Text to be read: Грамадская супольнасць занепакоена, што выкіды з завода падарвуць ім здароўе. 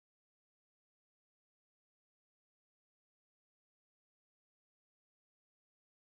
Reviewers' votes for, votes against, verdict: 0, 2, rejected